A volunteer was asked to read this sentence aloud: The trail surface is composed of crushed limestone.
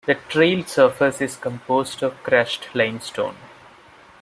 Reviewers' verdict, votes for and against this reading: accepted, 2, 0